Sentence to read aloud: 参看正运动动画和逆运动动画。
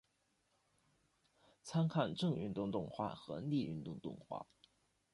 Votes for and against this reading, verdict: 2, 0, accepted